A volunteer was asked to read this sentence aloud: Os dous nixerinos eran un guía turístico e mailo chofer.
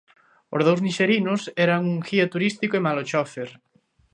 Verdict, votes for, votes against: rejected, 1, 2